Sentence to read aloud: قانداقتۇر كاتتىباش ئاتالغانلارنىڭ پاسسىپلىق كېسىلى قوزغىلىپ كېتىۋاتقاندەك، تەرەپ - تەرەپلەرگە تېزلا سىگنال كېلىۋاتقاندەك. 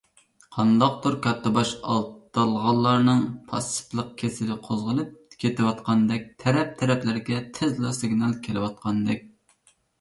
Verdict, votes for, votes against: rejected, 0, 2